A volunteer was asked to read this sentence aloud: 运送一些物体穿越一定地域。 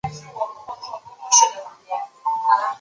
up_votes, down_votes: 0, 4